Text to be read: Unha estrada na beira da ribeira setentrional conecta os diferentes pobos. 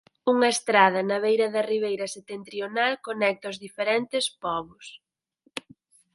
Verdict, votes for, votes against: rejected, 2, 4